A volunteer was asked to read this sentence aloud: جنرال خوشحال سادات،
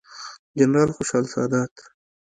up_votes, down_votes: 2, 0